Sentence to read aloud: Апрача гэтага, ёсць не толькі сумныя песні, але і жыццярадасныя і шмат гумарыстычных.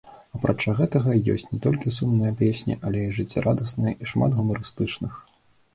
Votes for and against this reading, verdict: 2, 0, accepted